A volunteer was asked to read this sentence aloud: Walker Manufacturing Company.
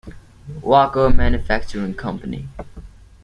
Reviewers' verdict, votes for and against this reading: accepted, 2, 0